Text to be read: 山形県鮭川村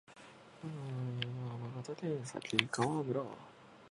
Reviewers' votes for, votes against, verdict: 0, 2, rejected